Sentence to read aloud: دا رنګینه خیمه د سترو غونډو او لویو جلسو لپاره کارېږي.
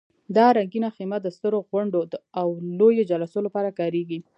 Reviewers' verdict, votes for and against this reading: rejected, 1, 2